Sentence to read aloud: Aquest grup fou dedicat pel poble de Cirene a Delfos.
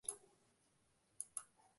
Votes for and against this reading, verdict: 0, 2, rejected